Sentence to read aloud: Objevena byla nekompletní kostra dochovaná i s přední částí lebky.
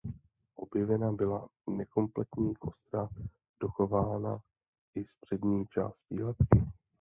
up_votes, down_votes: 0, 2